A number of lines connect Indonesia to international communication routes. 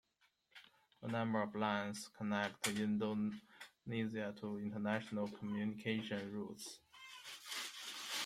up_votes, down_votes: 1, 2